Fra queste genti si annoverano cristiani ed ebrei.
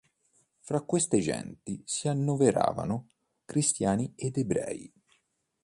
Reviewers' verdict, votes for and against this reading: rejected, 1, 2